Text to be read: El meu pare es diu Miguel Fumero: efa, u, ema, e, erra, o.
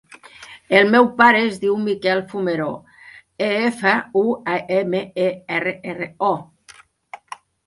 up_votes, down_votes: 0, 2